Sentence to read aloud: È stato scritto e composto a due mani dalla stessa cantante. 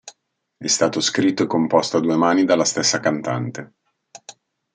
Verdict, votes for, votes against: accepted, 2, 0